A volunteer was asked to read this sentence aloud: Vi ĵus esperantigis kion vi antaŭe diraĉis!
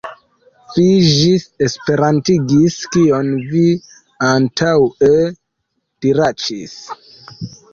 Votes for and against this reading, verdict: 1, 2, rejected